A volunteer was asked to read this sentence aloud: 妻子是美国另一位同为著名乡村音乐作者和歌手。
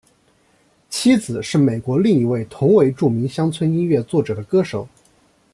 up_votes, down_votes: 1, 2